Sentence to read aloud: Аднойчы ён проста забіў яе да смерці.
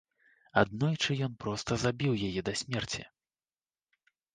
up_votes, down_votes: 2, 0